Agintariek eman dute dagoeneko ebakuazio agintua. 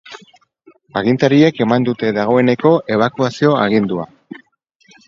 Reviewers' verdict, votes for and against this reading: rejected, 0, 4